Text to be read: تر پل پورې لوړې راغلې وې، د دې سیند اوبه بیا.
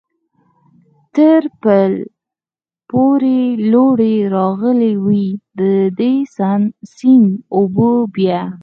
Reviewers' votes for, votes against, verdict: 4, 0, accepted